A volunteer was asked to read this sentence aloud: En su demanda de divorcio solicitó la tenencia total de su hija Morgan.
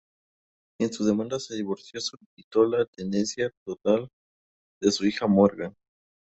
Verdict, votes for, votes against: rejected, 0, 2